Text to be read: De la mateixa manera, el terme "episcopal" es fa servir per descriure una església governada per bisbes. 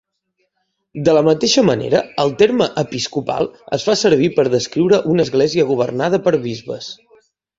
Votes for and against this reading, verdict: 3, 1, accepted